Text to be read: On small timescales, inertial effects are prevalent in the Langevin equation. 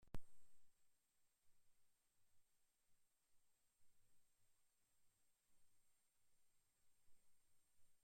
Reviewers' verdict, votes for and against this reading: rejected, 0, 2